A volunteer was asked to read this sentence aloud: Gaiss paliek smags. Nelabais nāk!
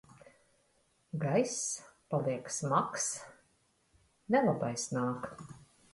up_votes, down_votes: 0, 2